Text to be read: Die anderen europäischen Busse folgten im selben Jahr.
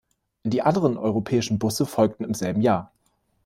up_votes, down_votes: 2, 0